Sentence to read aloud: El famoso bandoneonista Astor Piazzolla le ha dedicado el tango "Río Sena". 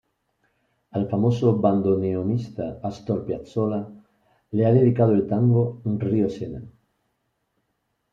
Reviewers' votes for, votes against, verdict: 0, 2, rejected